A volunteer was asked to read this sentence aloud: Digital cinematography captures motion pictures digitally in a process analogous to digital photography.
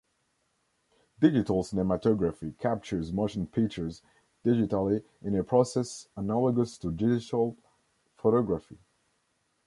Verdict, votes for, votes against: accepted, 2, 0